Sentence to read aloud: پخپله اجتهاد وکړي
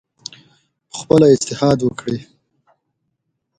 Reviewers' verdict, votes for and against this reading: accepted, 2, 0